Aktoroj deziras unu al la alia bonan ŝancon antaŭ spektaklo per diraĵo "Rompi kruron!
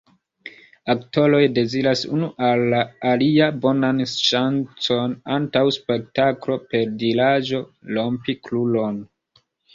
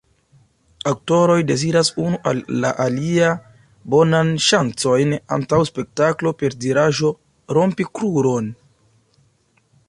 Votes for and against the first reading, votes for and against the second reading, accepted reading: 0, 2, 2, 0, second